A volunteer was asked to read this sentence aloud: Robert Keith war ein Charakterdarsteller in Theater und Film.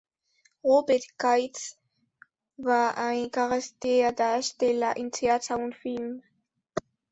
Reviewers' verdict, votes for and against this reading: rejected, 1, 2